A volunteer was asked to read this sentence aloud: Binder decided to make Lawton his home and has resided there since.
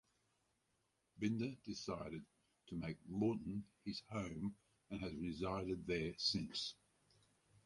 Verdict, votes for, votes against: accepted, 4, 0